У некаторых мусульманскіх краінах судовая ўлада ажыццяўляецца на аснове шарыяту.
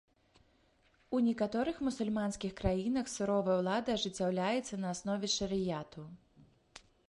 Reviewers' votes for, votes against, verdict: 0, 2, rejected